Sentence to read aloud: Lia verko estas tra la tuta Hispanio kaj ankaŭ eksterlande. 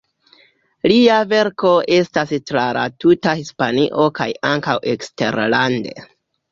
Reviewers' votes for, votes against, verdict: 2, 0, accepted